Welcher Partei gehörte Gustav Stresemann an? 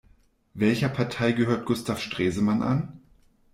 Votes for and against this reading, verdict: 0, 2, rejected